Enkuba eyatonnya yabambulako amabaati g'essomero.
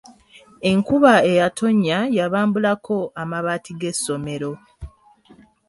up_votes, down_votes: 3, 0